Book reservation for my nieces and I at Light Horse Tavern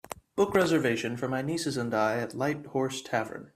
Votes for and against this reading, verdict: 4, 0, accepted